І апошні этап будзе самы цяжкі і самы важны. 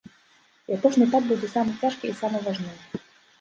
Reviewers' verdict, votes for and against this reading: rejected, 1, 2